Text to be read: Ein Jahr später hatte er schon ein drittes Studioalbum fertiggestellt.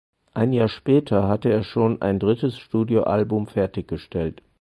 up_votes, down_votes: 4, 0